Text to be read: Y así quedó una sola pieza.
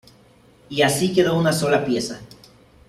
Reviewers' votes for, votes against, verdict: 2, 0, accepted